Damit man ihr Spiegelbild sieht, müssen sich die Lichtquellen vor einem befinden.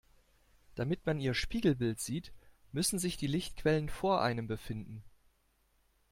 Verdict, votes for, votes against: accepted, 2, 0